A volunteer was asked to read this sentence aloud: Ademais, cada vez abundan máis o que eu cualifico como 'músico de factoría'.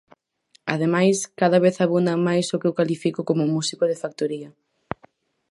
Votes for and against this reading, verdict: 4, 2, accepted